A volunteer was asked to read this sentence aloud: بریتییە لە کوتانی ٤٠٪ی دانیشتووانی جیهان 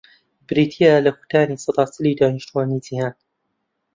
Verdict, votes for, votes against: rejected, 0, 2